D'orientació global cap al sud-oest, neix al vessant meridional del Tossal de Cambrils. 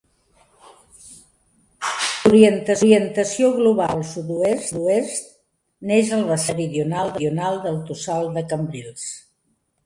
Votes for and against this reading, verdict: 0, 2, rejected